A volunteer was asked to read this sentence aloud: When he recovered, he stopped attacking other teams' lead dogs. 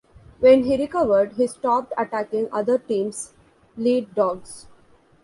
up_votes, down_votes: 2, 0